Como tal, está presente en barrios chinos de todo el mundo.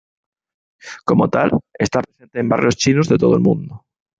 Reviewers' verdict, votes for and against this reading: rejected, 0, 2